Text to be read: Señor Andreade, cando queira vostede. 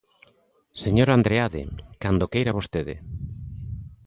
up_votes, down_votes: 2, 0